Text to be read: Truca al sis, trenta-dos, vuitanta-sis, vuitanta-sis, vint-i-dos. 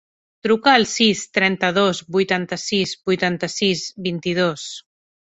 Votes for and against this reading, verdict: 5, 0, accepted